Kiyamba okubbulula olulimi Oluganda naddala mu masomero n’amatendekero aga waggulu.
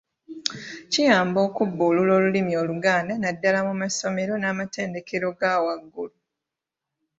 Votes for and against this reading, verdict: 1, 2, rejected